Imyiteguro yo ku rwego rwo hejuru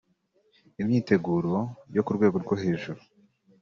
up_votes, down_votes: 3, 0